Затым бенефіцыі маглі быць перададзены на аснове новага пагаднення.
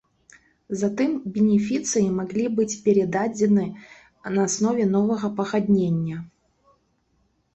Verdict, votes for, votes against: rejected, 1, 2